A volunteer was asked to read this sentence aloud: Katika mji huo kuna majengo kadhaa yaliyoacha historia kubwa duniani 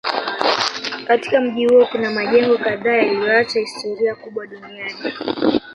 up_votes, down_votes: 0, 2